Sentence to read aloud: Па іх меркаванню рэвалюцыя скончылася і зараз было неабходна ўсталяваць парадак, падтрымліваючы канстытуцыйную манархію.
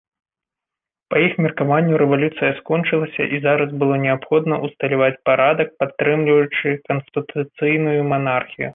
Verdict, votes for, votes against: accepted, 2, 0